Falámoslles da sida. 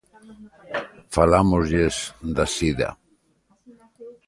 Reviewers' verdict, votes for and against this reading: rejected, 1, 2